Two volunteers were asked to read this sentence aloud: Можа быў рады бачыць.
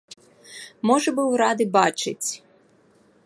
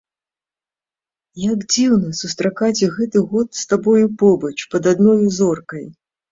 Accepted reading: first